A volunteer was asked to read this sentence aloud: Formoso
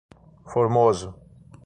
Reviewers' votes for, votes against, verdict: 6, 0, accepted